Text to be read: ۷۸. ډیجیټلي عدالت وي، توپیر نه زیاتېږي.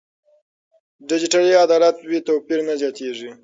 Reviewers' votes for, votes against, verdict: 0, 2, rejected